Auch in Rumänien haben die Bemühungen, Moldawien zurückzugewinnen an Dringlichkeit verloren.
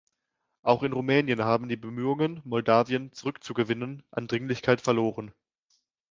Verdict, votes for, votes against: accepted, 2, 0